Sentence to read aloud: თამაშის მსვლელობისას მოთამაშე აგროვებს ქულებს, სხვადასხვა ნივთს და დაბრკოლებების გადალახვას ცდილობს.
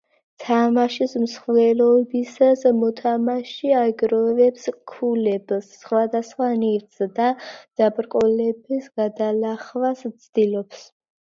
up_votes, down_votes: 1, 2